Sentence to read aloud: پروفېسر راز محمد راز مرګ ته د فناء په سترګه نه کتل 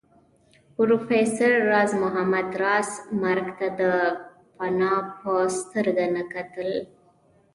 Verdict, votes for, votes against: accepted, 2, 0